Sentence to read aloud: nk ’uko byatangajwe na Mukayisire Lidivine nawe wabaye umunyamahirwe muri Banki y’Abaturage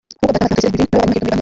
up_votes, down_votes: 0, 2